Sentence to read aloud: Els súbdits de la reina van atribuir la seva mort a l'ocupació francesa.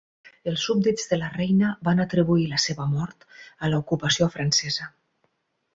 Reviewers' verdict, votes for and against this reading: rejected, 0, 4